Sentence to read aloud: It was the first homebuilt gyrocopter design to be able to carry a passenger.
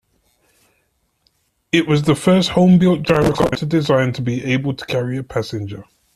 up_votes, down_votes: 0, 2